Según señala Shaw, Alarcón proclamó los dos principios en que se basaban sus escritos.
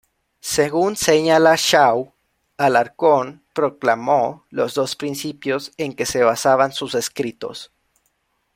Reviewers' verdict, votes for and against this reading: accepted, 2, 0